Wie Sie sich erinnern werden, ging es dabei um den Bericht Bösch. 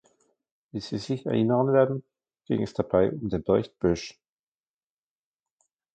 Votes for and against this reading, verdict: 1, 2, rejected